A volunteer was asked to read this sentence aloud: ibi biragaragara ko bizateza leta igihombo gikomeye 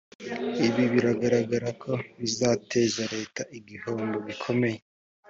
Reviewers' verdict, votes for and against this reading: accepted, 3, 0